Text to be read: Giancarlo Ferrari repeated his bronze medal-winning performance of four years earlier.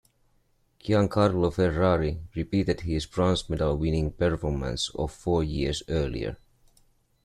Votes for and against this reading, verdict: 2, 0, accepted